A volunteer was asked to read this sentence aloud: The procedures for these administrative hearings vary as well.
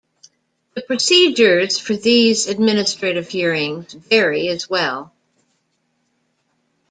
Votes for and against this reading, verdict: 2, 0, accepted